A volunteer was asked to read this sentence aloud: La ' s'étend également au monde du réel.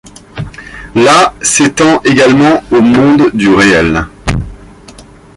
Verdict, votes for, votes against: accepted, 2, 0